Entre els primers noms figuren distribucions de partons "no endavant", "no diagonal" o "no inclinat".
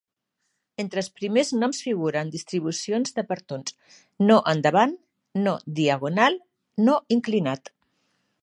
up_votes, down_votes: 2, 1